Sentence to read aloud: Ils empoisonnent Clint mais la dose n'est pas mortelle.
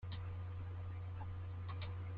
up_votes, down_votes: 0, 2